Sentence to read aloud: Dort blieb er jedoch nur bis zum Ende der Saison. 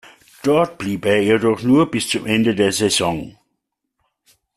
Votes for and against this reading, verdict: 2, 0, accepted